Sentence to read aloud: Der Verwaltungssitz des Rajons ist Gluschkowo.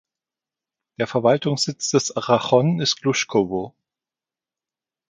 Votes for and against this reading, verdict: 1, 2, rejected